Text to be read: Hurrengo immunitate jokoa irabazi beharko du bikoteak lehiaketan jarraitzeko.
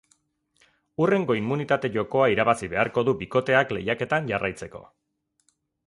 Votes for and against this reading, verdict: 0, 2, rejected